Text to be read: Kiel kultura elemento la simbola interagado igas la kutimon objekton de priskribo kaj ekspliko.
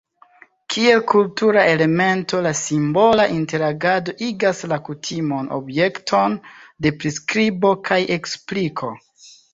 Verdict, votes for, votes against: accepted, 2, 0